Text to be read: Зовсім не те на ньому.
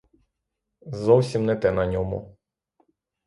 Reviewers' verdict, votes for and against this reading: rejected, 3, 3